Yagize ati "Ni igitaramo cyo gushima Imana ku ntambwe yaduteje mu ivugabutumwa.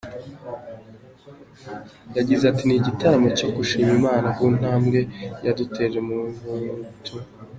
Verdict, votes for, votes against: rejected, 0, 2